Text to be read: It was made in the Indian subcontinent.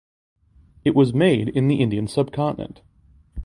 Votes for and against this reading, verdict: 2, 0, accepted